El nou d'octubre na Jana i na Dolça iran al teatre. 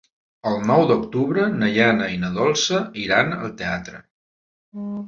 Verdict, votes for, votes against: rejected, 0, 2